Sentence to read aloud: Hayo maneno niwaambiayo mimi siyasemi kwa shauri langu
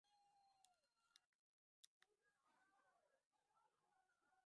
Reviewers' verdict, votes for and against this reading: rejected, 0, 2